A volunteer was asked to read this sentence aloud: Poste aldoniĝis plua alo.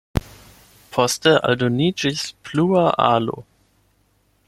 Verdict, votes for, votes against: accepted, 12, 0